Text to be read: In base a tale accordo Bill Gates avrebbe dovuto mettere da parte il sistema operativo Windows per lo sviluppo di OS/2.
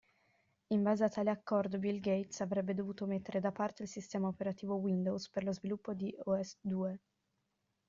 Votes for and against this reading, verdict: 0, 2, rejected